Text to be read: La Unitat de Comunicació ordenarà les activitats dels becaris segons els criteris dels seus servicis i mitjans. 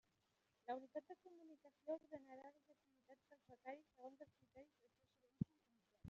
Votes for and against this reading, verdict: 0, 2, rejected